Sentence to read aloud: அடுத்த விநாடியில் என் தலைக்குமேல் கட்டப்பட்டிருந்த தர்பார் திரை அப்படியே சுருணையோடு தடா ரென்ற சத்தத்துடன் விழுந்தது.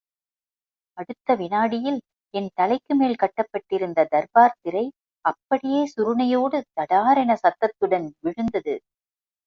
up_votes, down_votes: 2, 1